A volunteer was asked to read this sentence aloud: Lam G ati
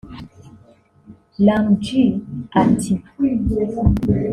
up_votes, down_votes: 2, 1